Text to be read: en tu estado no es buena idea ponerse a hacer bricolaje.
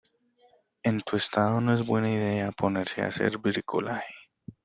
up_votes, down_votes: 2, 0